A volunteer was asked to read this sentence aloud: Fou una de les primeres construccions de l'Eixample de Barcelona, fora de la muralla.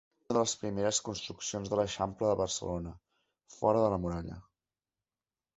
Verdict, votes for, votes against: rejected, 1, 2